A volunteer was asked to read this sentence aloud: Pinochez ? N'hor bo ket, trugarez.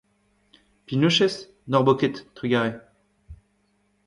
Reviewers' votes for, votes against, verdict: 1, 2, rejected